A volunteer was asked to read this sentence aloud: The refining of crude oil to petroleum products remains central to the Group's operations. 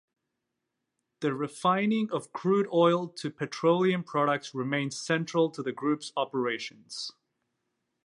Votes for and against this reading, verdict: 2, 1, accepted